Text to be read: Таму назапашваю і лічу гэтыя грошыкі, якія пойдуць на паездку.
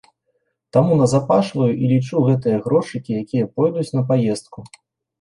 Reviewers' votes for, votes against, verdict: 2, 0, accepted